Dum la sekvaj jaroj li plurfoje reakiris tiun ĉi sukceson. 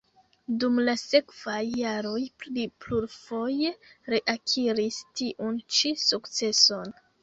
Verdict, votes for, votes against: rejected, 2, 3